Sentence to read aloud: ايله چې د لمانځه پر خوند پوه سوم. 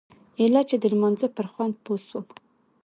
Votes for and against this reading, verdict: 2, 0, accepted